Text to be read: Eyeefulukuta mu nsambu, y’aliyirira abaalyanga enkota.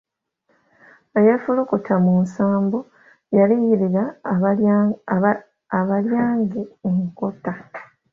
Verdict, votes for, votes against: rejected, 0, 2